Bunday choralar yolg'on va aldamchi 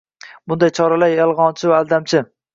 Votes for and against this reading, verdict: 0, 2, rejected